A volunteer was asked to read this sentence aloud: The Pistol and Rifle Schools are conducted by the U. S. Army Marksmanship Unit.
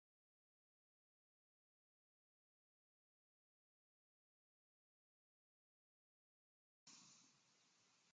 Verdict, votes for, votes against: rejected, 0, 2